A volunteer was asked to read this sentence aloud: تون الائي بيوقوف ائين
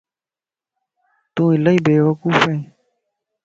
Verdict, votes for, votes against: accepted, 2, 0